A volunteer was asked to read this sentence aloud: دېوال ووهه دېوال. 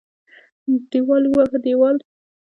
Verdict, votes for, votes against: rejected, 0, 2